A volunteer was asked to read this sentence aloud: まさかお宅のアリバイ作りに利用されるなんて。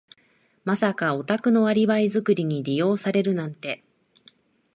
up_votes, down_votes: 2, 2